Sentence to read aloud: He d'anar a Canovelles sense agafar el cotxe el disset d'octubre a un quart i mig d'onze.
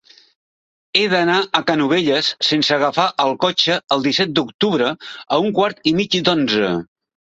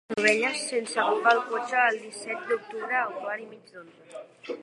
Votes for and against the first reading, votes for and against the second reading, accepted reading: 2, 0, 0, 3, first